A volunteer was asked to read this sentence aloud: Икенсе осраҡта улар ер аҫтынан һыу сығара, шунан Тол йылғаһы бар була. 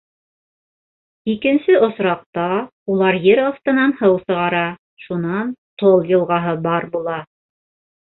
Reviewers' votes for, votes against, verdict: 1, 2, rejected